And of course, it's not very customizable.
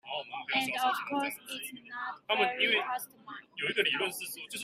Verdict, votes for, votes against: rejected, 0, 4